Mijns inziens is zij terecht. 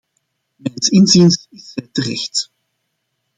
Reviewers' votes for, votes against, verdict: 0, 2, rejected